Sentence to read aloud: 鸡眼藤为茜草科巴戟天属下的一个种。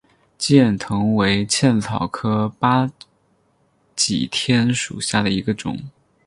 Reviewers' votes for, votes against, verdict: 2, 6, rejected